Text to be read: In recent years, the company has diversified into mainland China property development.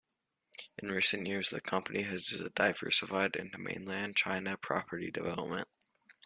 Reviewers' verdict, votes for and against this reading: accepted, 2, 0